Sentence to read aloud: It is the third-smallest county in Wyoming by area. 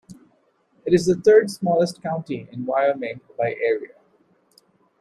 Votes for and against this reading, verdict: 2, 1, accepted